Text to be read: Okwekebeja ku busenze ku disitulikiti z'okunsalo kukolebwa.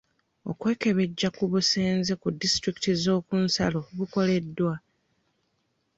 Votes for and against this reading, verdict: 1, 2, rejected